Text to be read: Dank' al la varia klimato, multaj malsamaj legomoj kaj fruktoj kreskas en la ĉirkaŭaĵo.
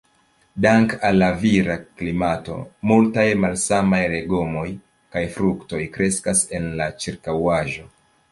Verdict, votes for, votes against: rejected, 1, 2